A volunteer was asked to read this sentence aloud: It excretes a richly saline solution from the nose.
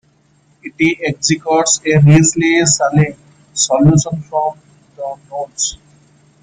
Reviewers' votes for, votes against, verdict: 0, 2, rejected